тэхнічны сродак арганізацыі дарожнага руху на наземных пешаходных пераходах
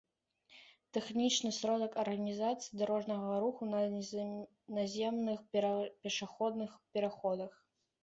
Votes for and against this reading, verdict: 3, 2, accepted